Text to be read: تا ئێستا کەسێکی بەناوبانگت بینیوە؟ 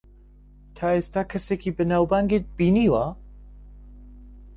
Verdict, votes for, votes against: accepted, 2, 0